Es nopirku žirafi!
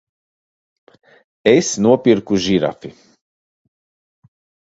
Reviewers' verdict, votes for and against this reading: accepted, 2, 0